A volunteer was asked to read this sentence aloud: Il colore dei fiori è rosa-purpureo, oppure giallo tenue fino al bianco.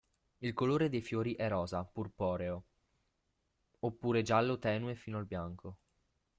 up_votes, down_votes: 0, 2